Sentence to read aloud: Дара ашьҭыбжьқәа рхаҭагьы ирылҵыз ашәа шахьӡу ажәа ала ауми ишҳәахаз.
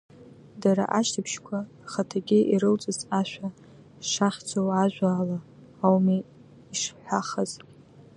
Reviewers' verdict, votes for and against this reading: rejected, 0, 2